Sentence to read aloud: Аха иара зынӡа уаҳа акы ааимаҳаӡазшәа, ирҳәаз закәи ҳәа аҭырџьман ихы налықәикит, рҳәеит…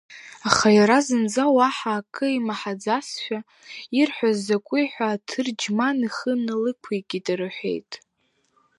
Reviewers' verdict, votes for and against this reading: accepted, 3, 0